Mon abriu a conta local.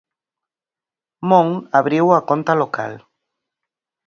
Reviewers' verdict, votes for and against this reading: accepted, 4, 0